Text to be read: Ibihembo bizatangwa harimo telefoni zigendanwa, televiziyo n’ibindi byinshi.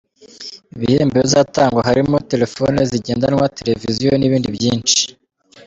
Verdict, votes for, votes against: rejected, 1, 2